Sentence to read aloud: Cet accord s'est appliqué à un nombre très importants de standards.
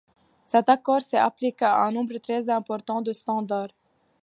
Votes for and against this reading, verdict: 2, 1, accepted